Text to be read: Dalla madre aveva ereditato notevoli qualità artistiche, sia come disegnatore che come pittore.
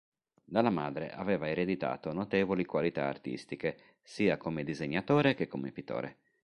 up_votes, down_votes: 2, 0